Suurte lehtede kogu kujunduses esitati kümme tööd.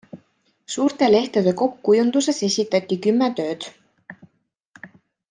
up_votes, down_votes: 1, 2